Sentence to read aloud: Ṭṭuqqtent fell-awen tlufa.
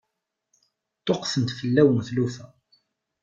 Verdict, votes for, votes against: accepted, 2, 0